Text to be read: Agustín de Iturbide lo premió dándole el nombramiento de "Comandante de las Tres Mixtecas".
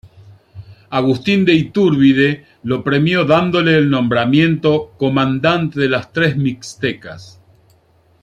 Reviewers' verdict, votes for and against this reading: rejected, 0, 2